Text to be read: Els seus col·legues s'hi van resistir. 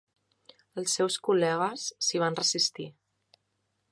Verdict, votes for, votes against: accepted, 3, 1